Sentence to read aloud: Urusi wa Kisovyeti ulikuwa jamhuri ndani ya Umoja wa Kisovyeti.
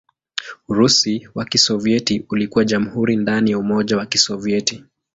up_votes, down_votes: 2, 0